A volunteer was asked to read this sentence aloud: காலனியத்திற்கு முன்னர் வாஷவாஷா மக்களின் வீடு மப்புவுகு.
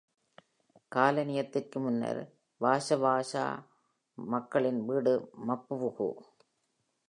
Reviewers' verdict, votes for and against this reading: accepted, 2, 0